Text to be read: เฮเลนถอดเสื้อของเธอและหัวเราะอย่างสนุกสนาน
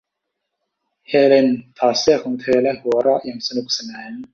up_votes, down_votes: 2, 0